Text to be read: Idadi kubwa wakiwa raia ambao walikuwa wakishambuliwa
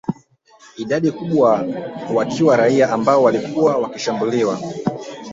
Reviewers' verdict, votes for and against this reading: rejected, 1, 2